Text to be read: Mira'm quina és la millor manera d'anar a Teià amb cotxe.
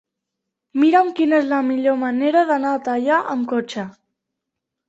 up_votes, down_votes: 2, 0